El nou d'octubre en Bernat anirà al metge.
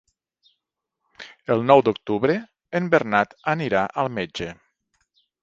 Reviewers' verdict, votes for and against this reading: accepted, 4, 0